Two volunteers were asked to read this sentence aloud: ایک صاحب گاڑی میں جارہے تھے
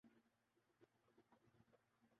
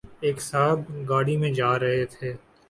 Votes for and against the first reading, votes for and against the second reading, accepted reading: 0, 2, 6, 0, second